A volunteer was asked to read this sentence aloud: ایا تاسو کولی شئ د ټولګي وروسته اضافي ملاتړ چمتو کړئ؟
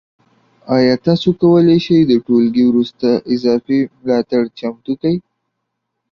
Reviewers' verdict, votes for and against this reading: rejected, 1, 2